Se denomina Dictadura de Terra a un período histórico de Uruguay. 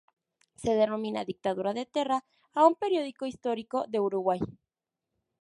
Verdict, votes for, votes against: rejected, 0, 2